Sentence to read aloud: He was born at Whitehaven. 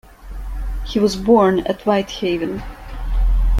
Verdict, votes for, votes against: accepted, 2, 0